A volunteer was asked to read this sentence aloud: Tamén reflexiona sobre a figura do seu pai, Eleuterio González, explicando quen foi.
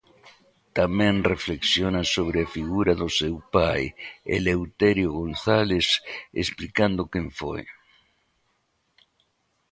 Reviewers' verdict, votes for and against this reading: accepted, 2, 0